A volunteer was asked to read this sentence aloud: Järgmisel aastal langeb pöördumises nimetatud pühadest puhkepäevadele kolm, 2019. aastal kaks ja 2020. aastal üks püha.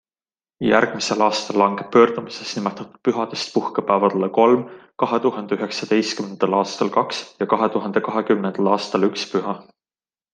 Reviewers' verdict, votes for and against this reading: rejected, 0, 2